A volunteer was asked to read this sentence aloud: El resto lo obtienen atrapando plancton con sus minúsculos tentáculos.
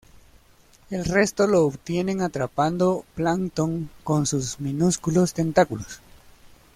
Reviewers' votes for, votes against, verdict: 0, 2, rejected